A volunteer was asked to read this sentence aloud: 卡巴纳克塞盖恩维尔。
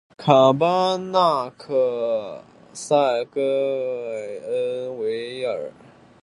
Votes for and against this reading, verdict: 2, 1, accepted